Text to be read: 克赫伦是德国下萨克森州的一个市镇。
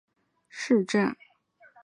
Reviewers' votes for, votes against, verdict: 1, 3, rejected